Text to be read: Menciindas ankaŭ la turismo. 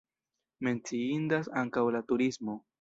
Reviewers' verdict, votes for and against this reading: accepted, 2, 0